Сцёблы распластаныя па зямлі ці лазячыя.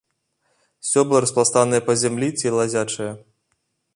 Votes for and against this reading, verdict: 0, 2, rejected